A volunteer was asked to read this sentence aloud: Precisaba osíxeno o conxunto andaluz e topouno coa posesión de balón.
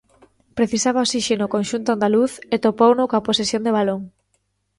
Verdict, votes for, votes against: accepted, 2, 0